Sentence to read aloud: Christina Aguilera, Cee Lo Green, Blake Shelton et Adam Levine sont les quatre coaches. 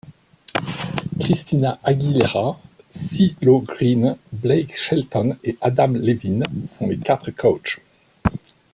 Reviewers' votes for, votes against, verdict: 2, 0, accepted